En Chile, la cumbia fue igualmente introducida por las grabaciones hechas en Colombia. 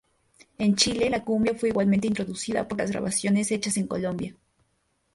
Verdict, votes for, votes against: accepted, 4, 0